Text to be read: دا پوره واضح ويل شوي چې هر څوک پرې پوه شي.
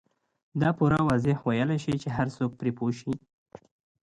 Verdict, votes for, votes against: rejected, 0, 2